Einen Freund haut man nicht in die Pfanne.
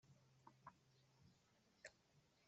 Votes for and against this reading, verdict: 0, 2, rejected